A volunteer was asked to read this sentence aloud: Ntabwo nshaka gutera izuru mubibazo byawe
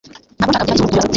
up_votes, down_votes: 0, 2